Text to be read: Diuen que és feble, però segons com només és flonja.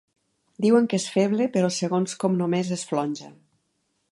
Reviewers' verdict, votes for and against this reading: accepted, 2, 0